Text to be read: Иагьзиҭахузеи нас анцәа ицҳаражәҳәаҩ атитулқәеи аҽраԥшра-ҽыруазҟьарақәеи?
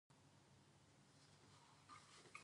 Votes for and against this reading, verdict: 0, 2, rejected